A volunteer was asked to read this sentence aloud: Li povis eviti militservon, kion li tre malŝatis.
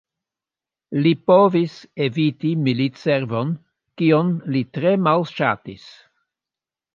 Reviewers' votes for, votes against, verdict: 2, 0, accepted